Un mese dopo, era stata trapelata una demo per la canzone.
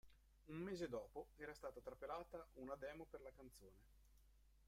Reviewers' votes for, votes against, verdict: 2, 3, rejected